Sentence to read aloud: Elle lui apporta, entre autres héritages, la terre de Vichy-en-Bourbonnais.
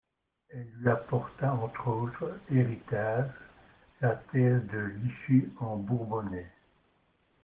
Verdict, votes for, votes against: accepted, 2, 1